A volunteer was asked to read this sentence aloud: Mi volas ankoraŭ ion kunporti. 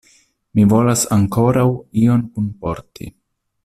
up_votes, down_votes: 2, 1